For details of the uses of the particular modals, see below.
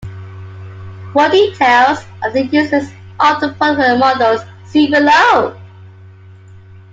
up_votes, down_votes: 1, 2